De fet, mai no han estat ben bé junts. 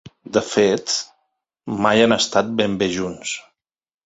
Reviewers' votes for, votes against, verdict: 0, 2, rejected